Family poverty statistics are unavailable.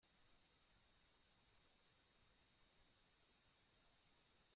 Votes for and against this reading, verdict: 0, 2, rejected